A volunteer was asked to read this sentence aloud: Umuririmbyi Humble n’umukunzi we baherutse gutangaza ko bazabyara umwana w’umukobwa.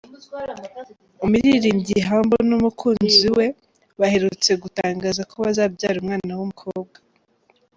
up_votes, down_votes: 2, 0